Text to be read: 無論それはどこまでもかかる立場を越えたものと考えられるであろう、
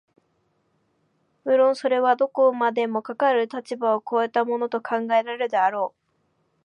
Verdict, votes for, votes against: accepted, 2, 0